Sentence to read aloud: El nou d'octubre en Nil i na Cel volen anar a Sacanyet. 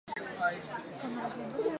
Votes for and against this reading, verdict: 0, 4, rejected